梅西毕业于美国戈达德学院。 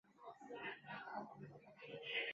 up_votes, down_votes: 3, 4